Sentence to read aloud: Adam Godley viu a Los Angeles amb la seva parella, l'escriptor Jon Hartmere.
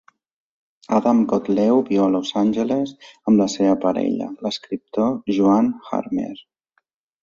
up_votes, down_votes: 0, 2